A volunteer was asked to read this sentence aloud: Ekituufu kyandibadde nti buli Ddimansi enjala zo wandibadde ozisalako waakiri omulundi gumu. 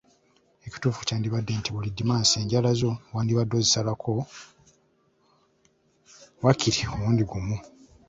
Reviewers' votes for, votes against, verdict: 2, 1, accepted